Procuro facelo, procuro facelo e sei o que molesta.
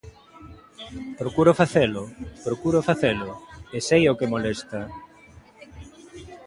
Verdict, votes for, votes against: accepted, 2, 0